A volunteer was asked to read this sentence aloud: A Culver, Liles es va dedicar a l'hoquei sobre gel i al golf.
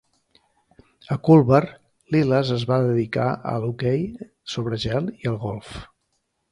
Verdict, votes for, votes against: accepted, 2, 0